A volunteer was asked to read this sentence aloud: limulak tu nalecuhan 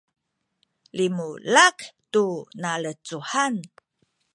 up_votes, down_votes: 1, 2